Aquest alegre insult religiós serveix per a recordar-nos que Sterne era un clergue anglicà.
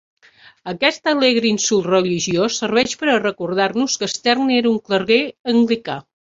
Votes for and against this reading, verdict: 2, 6, rejected